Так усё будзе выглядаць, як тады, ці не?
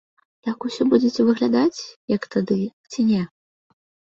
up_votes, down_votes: 1, 2